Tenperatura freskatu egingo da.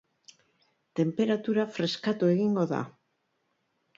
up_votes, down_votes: 3, 0